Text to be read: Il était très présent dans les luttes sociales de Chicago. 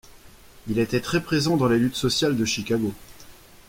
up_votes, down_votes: 2, 0